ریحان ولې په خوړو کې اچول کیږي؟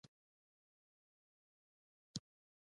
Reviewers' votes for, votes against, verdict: 0, 2, rejected